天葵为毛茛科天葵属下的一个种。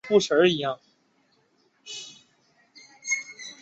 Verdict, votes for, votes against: rejected, 0, 7